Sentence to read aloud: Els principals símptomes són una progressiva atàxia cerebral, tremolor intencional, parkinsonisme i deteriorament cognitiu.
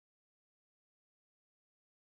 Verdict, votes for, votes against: rejected, 0, 2